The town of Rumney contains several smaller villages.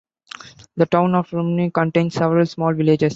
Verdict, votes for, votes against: rejected, 0, 2